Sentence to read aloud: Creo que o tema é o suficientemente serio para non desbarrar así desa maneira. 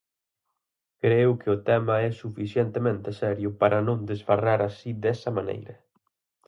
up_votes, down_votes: 4, 2